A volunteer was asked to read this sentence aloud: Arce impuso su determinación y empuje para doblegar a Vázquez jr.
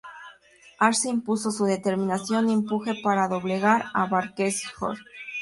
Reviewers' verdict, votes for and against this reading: rejected, 0, 2